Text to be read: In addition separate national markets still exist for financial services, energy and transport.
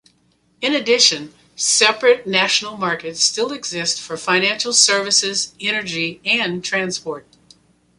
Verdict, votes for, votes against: accepted, 2, 0